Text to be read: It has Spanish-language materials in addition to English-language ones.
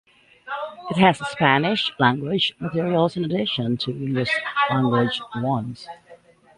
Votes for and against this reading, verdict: 1, 2, rejected